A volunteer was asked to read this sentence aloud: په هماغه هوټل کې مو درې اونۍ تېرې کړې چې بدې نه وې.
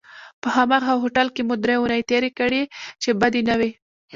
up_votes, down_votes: 2, 0